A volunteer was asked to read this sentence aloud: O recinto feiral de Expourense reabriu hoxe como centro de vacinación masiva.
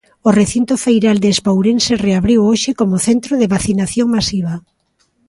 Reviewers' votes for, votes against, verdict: 3, 1, accepted